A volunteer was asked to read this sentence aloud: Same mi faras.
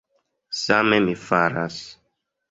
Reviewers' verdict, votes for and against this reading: accepted, 2, 0